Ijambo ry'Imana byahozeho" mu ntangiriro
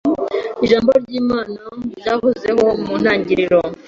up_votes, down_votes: 2, 1